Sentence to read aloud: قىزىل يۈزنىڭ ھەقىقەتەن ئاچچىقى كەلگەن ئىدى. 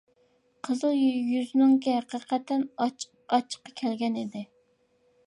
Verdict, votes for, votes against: rejected, 0, 2